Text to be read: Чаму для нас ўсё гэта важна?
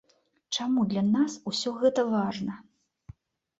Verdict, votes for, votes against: accepted, 2, 0